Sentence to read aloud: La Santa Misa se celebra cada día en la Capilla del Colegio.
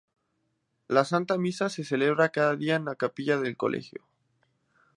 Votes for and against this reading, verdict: 0, 2, rejected